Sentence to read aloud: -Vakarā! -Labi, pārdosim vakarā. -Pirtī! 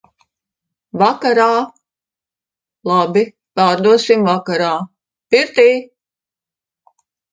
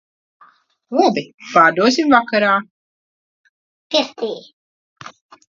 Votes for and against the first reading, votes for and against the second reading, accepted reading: 2, 0, 0, 2, first